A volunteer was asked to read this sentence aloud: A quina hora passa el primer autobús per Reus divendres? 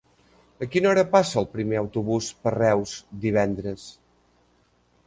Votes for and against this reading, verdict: 3, 0, accepted